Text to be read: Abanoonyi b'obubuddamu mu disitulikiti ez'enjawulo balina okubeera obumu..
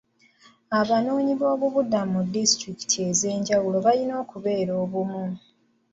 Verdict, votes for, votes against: rejected, 1, 2